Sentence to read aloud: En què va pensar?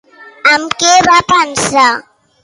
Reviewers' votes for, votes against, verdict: 2, 0, accepted